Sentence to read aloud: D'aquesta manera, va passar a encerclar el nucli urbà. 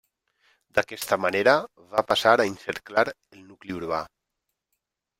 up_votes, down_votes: 0, 2